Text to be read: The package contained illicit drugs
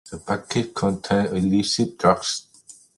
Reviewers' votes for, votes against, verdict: 0, 2, rejected